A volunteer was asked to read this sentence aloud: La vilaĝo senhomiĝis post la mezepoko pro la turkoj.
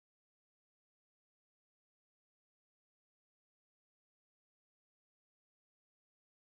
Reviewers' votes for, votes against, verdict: 1, 2, rejected